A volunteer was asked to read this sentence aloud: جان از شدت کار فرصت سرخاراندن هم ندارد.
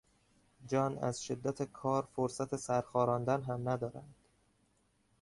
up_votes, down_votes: 2, 0